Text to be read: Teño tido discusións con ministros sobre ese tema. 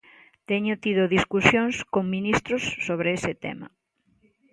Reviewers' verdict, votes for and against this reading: accepted, 2, 0